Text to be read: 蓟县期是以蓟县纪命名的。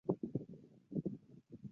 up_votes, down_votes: 2, 0